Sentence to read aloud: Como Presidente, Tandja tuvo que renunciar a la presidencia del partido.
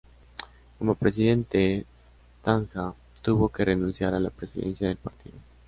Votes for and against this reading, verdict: 0, 2, rejected